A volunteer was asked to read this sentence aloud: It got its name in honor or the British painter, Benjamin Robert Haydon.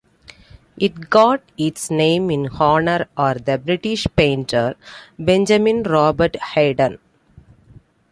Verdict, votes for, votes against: accepted, 2, 0